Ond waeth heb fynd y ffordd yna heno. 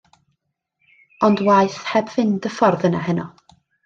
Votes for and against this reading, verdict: 2, 0, accepted